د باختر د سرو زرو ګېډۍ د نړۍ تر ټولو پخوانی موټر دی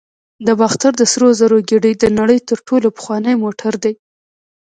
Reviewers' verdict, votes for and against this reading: accepted, 2, 0